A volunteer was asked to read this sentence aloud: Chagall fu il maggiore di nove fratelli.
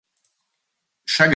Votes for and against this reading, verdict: 0, 2, rejected